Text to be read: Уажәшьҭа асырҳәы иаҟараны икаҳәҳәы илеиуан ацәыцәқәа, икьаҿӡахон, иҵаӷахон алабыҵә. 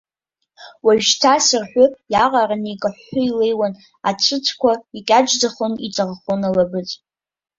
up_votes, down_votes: 0, 2